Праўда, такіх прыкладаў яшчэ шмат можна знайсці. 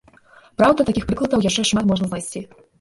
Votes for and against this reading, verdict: 1, 2, rejected